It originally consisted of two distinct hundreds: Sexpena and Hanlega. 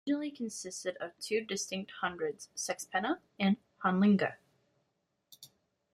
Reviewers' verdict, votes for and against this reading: rejected, 0, 2